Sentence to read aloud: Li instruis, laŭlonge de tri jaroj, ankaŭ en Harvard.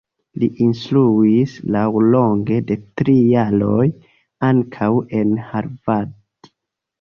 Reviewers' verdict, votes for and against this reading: accepted, 2, 0